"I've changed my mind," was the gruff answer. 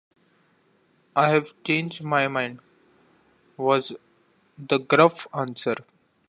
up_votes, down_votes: 2, 0